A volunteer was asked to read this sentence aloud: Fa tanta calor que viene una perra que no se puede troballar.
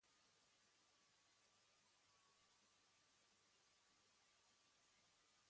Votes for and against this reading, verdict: 1, 2, rejected